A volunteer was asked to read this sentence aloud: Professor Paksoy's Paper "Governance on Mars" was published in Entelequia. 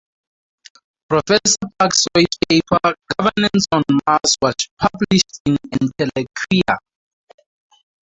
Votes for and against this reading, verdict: 0, 4, rejected